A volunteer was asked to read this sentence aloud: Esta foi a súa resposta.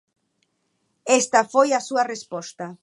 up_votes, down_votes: 3, 0